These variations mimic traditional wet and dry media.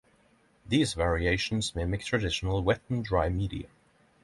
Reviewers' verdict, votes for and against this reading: accepted, 3, 0